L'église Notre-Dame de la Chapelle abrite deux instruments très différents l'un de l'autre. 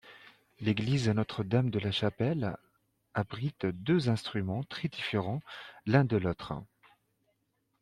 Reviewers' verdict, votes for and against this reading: accepted, 2, 1